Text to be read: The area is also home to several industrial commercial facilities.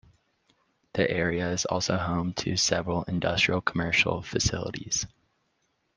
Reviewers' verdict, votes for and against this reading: accepted, 2, 0